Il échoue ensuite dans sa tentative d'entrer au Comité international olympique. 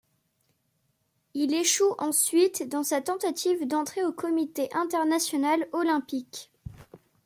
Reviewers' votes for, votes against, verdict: 2, 0, accepted